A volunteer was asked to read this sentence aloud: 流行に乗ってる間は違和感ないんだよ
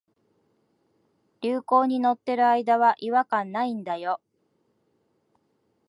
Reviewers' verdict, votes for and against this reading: accepted, 2, 0